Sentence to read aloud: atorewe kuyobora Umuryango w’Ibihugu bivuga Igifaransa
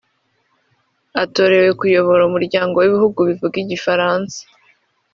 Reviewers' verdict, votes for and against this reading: accepted, 2, 0